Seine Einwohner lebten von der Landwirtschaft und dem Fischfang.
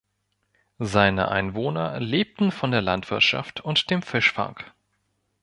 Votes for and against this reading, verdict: 2, 0, accepted